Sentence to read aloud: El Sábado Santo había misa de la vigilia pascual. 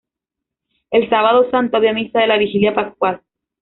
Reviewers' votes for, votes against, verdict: 2, 0, accepted